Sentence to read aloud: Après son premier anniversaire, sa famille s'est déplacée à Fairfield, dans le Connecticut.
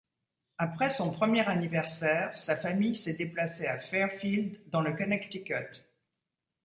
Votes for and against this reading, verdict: 2, 0, accepted